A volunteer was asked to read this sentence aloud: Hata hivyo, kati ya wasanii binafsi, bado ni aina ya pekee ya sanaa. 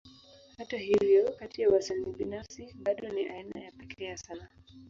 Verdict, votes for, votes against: accepted, 3, 0